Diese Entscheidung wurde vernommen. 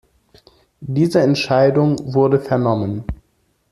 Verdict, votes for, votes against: accepted, 2, 0